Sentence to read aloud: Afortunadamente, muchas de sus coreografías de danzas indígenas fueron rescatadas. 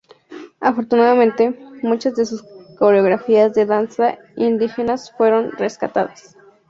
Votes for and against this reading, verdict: 2, 0, accepted